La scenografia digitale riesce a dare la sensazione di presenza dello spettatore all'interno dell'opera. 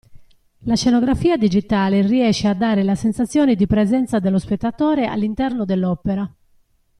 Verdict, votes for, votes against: accepted, 2, 0